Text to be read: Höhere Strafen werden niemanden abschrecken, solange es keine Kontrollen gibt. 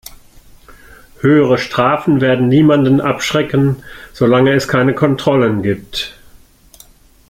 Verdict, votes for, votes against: accepted, 2, 0